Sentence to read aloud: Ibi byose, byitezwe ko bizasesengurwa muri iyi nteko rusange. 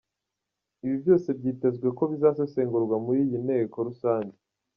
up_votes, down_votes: 2, 1